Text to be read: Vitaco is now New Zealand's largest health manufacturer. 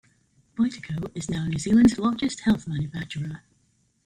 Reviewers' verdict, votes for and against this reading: accepted, 2, 1